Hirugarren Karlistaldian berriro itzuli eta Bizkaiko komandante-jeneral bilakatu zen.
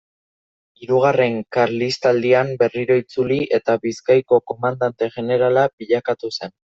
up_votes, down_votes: 1, 2